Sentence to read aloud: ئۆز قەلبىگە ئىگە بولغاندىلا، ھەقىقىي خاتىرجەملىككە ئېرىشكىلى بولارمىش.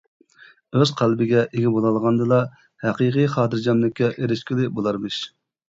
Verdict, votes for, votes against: rejected, 1, 2